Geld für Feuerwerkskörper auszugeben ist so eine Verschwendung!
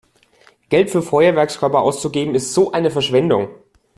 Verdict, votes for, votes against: accepted, 2, 0